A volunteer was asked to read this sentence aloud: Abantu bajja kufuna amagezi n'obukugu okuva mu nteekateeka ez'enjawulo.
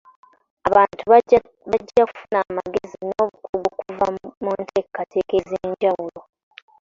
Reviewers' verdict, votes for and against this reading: rejected, 1, 2